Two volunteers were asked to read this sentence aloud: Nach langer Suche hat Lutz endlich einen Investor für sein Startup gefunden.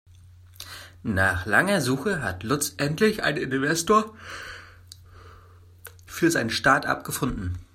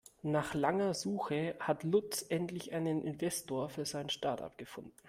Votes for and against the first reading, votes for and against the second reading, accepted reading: 0, 2, 2, 0, second